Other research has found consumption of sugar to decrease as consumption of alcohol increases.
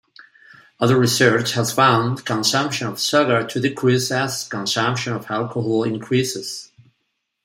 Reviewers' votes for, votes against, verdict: 2, 0, accepted